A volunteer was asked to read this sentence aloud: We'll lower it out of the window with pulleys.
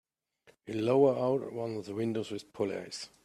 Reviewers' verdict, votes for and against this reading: rejected, 0, 2